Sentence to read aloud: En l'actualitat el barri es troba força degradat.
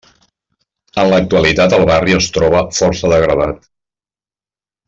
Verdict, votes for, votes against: accepted, 2, 1